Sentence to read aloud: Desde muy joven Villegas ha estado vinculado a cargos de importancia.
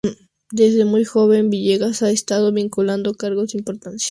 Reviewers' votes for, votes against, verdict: 2, 0, accepted